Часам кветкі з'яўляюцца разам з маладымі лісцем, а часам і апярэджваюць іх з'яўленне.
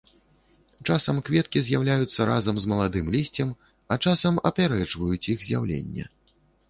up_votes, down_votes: 1, 2